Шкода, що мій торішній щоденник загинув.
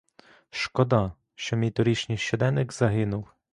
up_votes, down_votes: 2, 0